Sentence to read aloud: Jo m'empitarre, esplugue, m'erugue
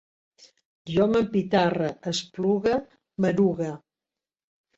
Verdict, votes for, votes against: accepted, 2, 0